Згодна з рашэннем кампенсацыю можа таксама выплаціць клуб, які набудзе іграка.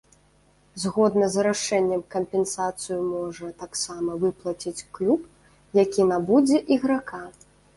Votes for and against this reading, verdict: 1, 2, rejected